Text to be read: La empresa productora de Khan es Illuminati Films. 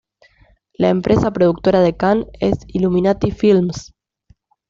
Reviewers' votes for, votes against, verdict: 2, 0, accepted